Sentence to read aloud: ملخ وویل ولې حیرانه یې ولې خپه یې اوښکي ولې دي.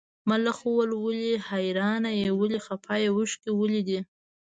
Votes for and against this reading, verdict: 2, 0, accepted